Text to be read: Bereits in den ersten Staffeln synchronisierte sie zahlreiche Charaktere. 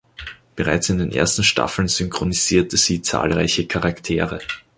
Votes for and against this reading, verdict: 2, 0, accepted